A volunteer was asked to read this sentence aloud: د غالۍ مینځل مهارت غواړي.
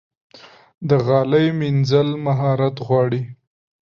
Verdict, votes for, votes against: accepted, 2, 0